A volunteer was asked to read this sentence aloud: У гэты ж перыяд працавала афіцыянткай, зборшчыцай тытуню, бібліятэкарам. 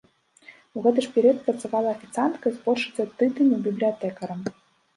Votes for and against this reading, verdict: 0, 2, rejected